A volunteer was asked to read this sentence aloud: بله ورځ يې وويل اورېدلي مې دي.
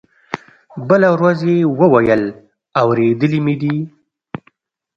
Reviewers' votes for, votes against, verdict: 2, 0, accepted